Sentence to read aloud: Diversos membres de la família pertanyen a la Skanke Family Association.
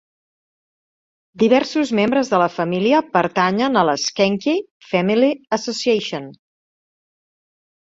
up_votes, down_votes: 2, 0